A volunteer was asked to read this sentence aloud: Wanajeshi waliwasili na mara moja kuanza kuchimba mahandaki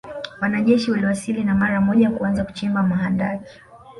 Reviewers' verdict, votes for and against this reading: rejected, 0, 2